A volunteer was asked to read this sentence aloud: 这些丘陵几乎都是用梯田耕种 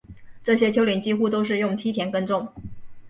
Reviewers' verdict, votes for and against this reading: accepted, 5, 0